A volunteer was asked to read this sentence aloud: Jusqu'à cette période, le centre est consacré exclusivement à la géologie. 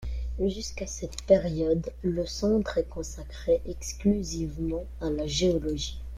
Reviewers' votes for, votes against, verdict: 3, 1, accepted